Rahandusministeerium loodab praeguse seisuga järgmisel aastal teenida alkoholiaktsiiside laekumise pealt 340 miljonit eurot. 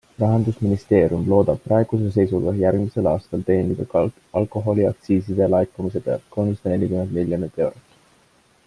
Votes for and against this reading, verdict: 0, 2, rejected